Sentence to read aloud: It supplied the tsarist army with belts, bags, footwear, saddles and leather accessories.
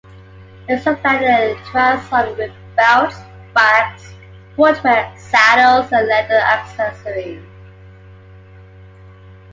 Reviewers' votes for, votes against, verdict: 2, 1, accepted